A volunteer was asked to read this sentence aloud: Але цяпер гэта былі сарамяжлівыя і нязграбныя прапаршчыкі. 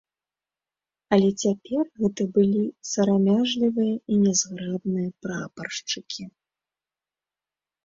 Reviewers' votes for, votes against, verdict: 3, 0, accepted